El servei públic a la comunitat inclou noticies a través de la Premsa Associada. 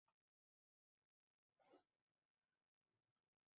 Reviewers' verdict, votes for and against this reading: rejected, 0, 2